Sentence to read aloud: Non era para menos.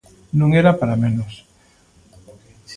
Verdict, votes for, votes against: accepted, 2, 0